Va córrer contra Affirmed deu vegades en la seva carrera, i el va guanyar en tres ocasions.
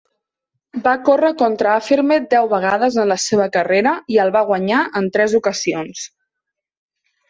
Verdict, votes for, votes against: accepted, 4, 0